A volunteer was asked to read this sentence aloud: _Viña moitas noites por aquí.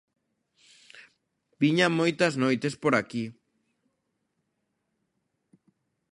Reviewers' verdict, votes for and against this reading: accepted, 2, 0